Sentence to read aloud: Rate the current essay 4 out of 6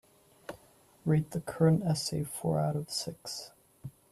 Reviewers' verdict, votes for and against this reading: rejected, 0, 2